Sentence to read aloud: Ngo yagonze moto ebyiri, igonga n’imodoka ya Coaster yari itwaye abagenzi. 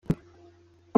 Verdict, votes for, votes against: rejected, 0, 2